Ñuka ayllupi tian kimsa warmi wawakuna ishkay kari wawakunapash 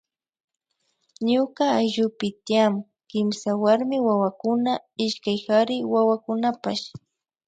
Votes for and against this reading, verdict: 2, 0, accepted